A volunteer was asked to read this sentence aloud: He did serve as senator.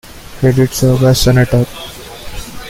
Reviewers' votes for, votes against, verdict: 2, 1, accepted